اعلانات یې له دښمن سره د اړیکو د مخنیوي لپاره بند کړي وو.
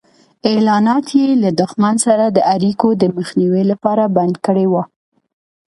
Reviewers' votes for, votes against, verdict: 2, 0, accepted